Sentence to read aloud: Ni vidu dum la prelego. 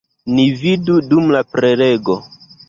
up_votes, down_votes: 2, 0